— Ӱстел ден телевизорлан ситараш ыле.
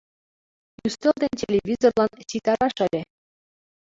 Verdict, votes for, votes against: rejected, 0, 2